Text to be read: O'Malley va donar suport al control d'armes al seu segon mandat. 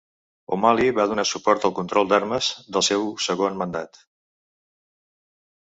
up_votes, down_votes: 1, 2